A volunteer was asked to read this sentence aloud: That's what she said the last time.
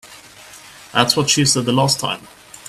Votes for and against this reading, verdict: 2, 0, accepted